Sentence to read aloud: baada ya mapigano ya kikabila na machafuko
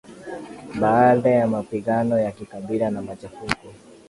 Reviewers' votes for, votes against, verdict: 3, 2, accepted